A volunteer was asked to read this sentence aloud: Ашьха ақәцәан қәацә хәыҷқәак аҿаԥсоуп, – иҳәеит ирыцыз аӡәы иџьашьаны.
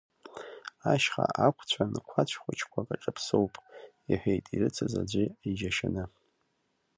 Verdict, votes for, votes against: rejected, 1, 2